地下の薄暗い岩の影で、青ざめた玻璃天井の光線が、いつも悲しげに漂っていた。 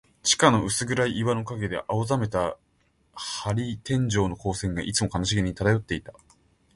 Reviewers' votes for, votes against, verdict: 1, 2, rejected